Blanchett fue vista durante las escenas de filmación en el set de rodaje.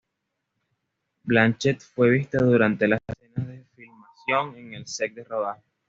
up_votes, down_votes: 1, 2